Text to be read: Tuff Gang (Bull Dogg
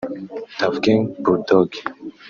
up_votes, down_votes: 0, 2